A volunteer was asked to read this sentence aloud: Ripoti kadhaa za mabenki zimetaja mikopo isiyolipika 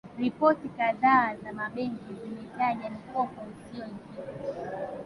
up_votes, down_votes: 0, 2